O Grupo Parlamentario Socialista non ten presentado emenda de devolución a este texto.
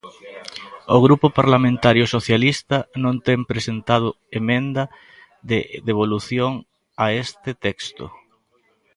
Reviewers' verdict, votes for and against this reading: rejected, 1, 2